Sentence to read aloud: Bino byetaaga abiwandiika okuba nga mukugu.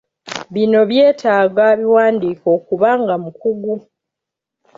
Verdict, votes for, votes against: accepted, 2, 0